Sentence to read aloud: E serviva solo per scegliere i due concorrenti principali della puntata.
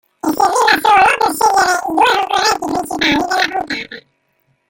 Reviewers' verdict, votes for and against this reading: rejected, 0, 2